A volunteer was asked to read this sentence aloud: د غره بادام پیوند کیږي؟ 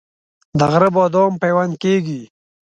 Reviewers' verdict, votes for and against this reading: accepted, 2, 0